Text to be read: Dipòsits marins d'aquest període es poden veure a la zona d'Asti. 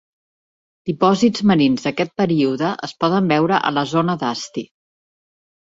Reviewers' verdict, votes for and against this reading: accepted, 2, 0